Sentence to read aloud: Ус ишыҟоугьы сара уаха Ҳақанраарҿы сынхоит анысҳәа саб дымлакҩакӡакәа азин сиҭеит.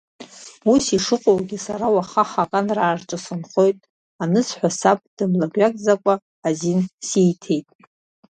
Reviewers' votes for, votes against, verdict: 2, 1, accepted